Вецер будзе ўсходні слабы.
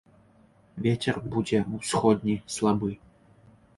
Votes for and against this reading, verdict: 2, 0, accepted